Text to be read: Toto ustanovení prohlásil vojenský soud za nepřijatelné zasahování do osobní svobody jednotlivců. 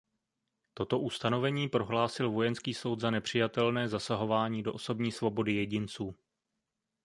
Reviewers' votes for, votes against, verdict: 0, 2, rejected